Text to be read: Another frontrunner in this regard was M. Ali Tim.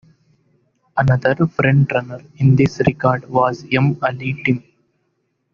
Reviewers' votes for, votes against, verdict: 2, 1, accepted